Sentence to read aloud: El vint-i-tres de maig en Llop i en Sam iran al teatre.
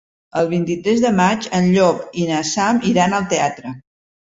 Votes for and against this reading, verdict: 1, 2, rejected